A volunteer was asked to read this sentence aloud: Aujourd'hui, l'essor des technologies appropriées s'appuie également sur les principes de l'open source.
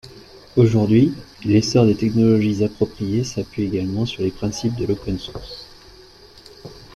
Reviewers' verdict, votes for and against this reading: accepted, 2, 0